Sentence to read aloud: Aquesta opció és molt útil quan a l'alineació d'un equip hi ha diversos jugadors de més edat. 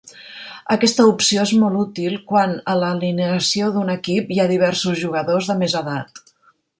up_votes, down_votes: 2, 0